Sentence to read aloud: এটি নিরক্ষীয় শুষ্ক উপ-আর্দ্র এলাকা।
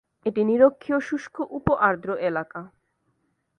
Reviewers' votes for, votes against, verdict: 2, 0, accepted